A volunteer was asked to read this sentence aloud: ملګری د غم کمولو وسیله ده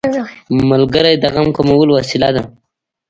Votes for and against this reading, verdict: 1, 2, rejected